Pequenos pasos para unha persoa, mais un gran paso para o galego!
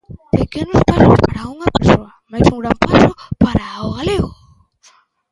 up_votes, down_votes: 0, 2